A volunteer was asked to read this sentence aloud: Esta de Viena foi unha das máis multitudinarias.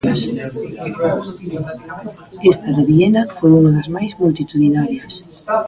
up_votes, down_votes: 2, 3